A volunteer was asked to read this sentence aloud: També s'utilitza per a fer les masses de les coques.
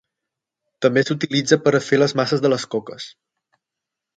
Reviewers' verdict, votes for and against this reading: accepted, 9, 0